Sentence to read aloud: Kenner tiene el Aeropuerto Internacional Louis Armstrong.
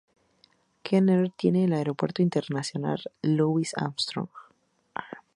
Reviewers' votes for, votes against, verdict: 2, 0, accepted